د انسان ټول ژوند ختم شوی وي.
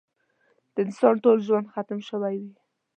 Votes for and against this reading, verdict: 2, 0, accepted